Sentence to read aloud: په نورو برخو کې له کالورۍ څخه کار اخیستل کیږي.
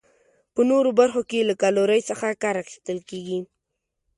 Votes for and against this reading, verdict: 2, 0, accepted